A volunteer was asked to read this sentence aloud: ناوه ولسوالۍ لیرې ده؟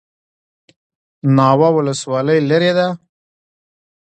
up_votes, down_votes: 1, 2